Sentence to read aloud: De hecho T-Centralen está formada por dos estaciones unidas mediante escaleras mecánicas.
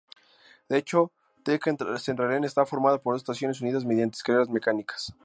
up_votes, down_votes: 0, 2